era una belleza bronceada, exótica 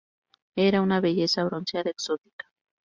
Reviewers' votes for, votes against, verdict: 4, 0, accepted